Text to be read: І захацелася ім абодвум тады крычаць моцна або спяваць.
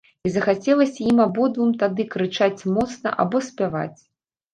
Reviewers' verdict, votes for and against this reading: accepted, 2, 1